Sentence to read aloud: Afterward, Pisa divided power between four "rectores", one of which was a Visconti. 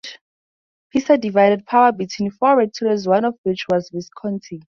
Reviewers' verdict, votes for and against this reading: rejected, 0, 4